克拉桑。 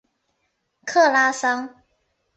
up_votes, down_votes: 2, 0